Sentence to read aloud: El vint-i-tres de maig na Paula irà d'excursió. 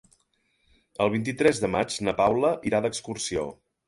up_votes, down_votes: 5, 0